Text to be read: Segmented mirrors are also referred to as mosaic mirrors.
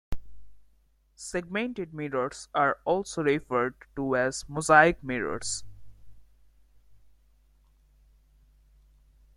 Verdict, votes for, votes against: accepted, 2, 1